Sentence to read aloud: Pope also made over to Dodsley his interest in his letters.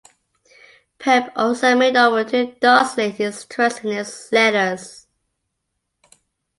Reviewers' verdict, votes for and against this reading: rejected, 0, 2